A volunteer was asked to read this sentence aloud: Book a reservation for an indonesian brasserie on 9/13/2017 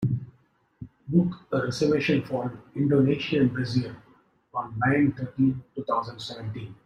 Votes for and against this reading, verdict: 0, 2, rejected